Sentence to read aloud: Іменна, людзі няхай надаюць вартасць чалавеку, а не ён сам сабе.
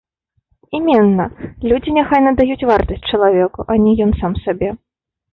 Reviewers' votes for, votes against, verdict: 1, 2, rejected